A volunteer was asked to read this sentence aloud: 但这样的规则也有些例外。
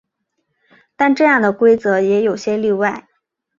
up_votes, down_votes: 4, 0